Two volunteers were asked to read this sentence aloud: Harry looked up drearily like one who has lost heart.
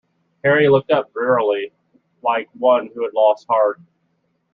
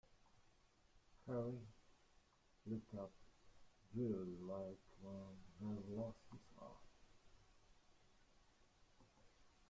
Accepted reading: first